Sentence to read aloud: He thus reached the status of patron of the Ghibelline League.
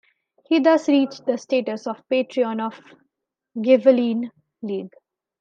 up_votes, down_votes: 0, 2